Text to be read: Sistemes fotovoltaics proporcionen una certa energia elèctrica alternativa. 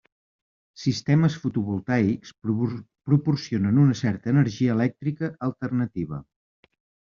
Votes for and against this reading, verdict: 0, 2, rejected